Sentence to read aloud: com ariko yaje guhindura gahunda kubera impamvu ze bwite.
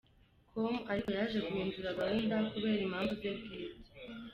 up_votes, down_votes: 0, 2